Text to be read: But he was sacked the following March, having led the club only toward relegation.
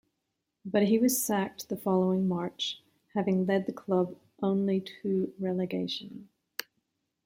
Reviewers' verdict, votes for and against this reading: rejected, 1, 2